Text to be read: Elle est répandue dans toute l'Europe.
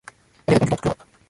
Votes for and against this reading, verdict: 0, 2, rejected